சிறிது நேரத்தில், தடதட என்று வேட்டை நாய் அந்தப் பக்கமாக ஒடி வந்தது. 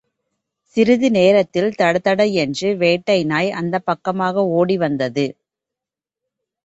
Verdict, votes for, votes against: accepted, 2, 0